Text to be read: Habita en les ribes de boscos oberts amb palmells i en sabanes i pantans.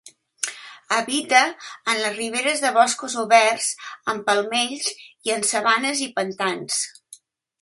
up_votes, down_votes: 0, 2